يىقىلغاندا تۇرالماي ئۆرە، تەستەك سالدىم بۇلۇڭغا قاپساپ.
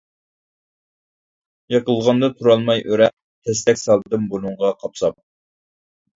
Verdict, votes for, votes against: rejected, 1, 2